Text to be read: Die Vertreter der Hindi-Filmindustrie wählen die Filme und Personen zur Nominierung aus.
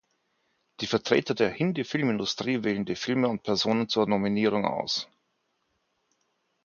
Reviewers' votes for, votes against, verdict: 4, 0, accepted